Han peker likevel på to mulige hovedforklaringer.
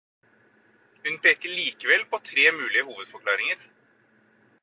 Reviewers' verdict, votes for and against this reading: rejected, 0, 4